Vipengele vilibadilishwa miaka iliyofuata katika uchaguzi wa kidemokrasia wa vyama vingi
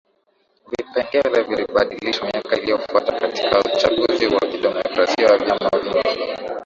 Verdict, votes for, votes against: rejected, 0, 2